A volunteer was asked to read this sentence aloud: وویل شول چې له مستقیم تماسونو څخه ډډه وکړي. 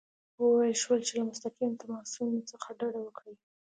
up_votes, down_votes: 2, 0